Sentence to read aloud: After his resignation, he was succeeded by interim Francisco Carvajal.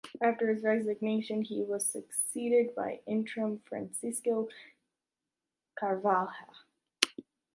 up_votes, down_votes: 1, 2